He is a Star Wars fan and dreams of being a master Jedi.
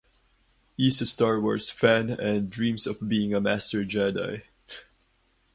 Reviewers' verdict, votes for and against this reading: accepted, 2, 0